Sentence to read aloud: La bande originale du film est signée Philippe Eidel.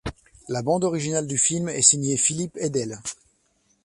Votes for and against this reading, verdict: 2, 0, accepted